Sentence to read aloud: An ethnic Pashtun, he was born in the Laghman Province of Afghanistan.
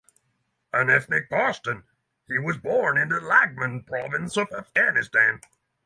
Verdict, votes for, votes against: accepted, 6, 0